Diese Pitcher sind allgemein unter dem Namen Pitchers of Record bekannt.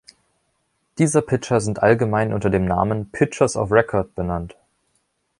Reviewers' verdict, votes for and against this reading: rejected, 1, 2